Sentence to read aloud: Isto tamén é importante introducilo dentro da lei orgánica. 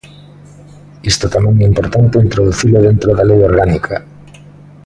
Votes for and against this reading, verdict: 2, 0, accepted